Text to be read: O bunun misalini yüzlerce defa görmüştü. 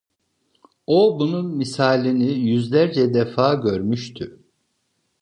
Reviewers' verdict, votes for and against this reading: accepted, 2, 0